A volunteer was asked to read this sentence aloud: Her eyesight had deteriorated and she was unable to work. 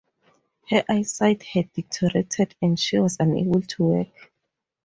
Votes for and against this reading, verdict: 2, 2, rejected